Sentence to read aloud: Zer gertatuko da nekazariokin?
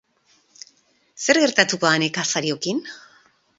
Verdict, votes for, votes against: rejected, 2, 2